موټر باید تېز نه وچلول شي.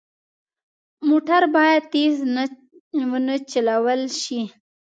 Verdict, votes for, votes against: accepted, 2, 1